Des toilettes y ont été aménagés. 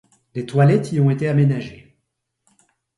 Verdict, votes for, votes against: accepted, 2, 0